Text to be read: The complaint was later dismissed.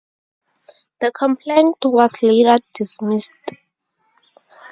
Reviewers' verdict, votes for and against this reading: accepted, 4, 0